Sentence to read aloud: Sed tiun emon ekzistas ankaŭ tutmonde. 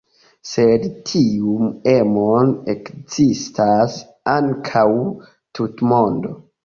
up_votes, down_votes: 2, 0